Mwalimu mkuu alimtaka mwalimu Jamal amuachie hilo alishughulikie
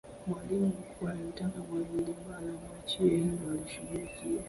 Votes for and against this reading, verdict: 0, 2, rejected